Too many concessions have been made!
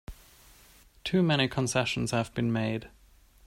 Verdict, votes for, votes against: accepted, 2, 0